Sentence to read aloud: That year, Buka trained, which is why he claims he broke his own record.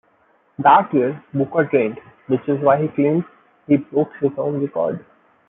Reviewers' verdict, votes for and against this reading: accepted, 2, 0